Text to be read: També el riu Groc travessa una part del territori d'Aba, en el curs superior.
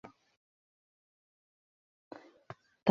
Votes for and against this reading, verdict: 0, 2, rejected